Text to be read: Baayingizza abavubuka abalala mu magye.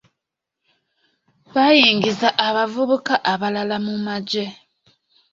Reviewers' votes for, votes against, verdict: 2, 1, accepted